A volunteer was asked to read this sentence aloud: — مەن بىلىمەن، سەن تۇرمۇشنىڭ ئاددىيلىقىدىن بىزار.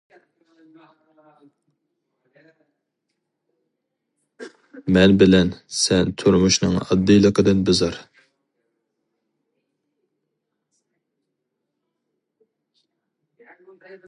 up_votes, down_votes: 0, 2